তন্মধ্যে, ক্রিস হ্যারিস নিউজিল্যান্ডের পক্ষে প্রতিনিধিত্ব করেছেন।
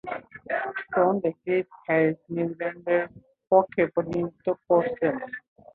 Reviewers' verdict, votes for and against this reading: rejected, 1, 2